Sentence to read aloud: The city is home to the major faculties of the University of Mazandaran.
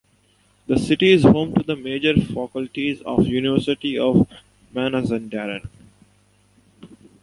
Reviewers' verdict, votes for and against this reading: accepted, 2, 0